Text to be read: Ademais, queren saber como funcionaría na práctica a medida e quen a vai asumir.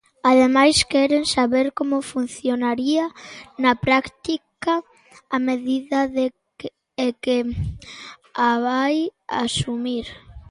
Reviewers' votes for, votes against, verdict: 0, 2, rejected